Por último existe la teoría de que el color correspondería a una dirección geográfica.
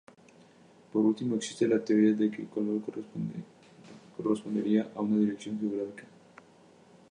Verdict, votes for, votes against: rejected, 0, 2